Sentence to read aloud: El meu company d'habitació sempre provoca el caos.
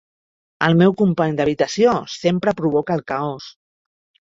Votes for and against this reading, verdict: 3, 0, accepted